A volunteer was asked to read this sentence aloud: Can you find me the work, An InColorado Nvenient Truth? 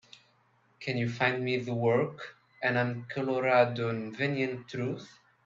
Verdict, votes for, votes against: accepted, 2, 1